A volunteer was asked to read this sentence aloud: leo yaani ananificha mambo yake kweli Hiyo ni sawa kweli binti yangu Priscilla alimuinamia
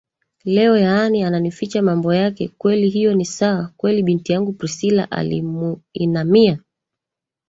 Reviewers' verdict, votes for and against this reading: rejected, 2, 3